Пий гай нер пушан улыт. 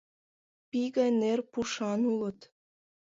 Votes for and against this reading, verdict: 2, 0, accepted